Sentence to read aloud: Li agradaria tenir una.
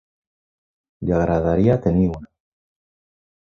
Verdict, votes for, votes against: accepted, 3, 0